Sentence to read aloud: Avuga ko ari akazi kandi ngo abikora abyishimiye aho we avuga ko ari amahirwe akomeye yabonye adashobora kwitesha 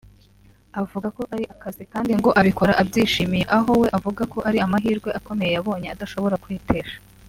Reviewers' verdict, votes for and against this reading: accepted, 2, 0